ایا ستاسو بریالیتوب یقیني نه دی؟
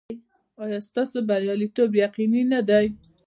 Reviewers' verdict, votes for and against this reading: accepted, 2, 1